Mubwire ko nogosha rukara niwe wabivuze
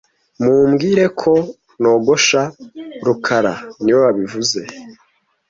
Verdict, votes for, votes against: rejected, 1, 2